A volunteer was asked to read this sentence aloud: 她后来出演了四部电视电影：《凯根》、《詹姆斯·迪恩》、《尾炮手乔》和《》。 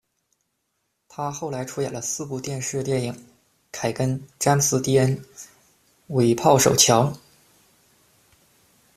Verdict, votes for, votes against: rejected, 1, 2